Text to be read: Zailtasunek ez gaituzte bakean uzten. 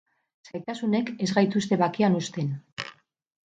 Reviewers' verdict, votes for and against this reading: accepted, 6, 0